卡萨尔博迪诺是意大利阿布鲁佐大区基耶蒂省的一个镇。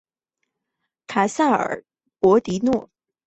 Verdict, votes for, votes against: rejected, 1, 3